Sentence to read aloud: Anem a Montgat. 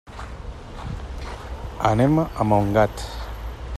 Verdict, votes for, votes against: accepted, 3, 0